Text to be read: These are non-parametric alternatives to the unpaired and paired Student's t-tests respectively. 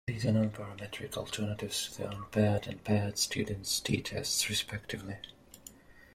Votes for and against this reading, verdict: 0, 2, rejected